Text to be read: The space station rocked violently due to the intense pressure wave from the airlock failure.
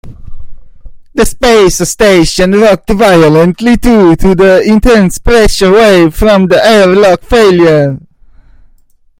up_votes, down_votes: 0, 2